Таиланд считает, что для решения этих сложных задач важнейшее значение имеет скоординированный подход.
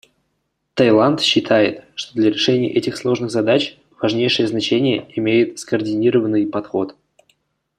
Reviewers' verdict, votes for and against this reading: accepted, 2, 0